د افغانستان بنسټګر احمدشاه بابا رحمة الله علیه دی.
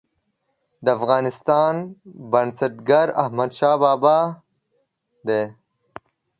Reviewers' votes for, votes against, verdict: 1, 2, rejected